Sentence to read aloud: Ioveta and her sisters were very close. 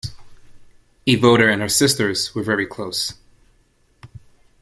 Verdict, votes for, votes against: rejected, 1, 2